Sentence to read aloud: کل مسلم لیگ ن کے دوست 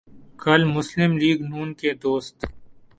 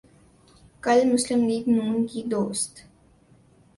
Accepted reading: first